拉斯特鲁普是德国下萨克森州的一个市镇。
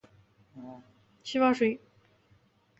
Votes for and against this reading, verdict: 1, 2, rejected